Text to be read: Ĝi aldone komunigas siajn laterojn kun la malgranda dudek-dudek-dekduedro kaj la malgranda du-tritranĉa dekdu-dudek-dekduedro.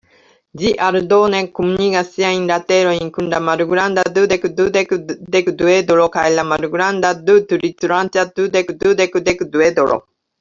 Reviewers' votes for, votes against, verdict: 1, 2, rejected